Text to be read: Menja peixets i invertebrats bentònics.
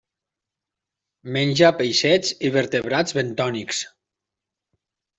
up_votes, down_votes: 1, 2